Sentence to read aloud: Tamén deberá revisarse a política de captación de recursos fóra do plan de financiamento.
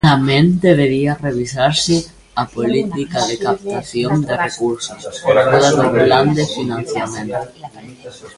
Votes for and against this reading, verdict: 0, 2, rejected